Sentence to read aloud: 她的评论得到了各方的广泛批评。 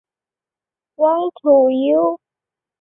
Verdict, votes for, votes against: rejected, 2, 4